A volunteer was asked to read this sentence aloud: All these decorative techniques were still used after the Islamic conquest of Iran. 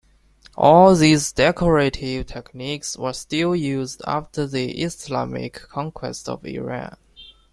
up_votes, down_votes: 2, 1